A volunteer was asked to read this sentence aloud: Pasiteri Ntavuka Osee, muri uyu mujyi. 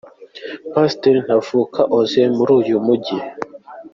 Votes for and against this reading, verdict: 2, 0, accepted